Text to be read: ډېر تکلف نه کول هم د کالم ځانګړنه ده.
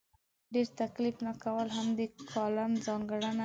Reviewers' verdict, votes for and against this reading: rejected, 0, 2